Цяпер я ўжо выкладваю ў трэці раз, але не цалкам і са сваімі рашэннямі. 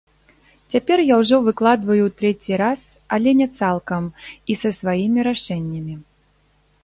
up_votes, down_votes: 0, 2